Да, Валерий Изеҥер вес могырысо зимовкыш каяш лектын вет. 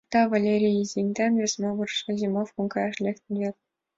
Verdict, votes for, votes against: accepted, 3, 2